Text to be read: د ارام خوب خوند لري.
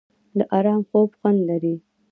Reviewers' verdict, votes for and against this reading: rejected, 1, 2